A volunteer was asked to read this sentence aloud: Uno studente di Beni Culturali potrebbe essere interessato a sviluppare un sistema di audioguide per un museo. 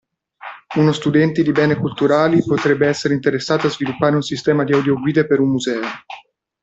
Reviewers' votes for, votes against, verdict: 1, 2, rejected